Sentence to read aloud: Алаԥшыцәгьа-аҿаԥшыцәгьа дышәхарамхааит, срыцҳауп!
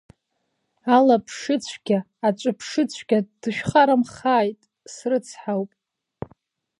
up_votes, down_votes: 0, 2